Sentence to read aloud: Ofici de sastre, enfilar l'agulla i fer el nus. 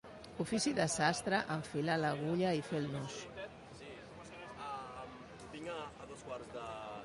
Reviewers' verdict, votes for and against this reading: accepted, 2, 0